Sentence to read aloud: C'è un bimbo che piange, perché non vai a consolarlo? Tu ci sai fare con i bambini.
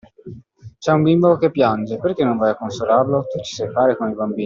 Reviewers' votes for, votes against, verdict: 1, 2, rejected